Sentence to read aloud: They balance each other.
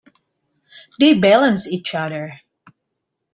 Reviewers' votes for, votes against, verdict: 2, 1, accepted